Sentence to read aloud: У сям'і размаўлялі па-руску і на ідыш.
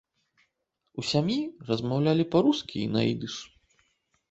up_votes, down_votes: 0, 2